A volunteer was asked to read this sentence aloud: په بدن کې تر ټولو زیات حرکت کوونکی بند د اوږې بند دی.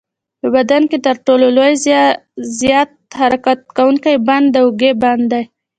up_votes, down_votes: 1, 2